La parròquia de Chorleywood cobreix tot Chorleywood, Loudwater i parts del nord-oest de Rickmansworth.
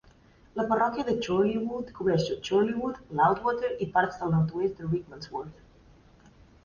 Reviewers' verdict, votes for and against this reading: rejected, 0, 2